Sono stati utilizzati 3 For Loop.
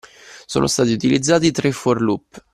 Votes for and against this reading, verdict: 0, 2, rejected